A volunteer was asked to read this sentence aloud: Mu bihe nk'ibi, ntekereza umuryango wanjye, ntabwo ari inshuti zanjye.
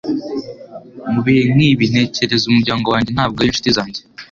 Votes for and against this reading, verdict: 2, 0, accepted